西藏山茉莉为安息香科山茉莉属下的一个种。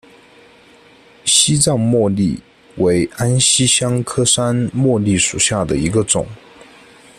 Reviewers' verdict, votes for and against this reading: rejected, 0, 2